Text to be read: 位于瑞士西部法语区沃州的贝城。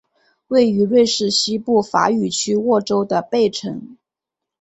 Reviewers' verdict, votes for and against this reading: accepted, 4, 0